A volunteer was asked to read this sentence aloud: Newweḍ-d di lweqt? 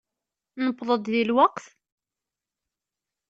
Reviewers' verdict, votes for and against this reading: accepted, 2, 0